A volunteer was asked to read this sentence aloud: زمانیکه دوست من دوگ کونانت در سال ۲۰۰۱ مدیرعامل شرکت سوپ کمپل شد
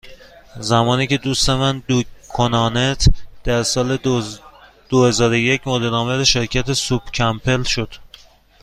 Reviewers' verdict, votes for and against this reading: rejected, 0, 2